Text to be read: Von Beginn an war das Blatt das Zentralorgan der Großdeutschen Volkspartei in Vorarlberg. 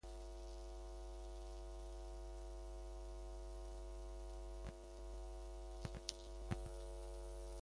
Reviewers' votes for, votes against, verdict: 0, 2, rejected